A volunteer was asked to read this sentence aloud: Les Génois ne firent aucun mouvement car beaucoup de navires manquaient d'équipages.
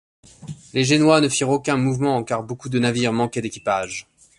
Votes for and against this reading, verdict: 2, 0, accepted